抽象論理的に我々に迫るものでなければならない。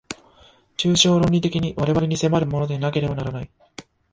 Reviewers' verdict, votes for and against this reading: accepted, 2, 0